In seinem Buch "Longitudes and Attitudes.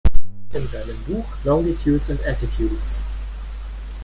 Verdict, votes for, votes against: rejected, 1, 2